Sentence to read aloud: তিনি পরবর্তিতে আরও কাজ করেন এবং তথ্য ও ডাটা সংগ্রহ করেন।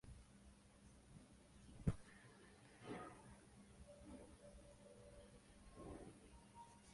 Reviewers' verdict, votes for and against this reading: rejected, 0, 2